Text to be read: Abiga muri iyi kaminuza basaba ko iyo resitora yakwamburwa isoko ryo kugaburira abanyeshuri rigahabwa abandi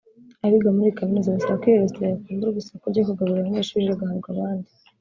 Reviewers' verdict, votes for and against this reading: rejected, 1, 2